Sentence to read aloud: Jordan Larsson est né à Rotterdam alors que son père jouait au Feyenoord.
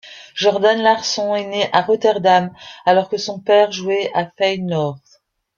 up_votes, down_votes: 0, 2